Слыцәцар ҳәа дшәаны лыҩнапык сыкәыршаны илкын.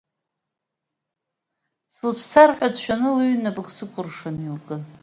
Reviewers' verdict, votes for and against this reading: accepted, 2, 0